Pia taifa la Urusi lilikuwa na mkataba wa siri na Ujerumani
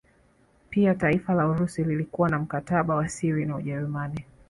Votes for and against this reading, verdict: 2, 0, accepted